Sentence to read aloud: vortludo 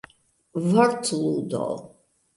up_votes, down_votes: 2, 1